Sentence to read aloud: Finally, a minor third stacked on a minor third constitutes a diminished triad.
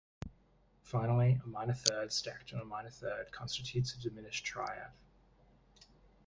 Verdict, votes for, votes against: rejected, 0, 2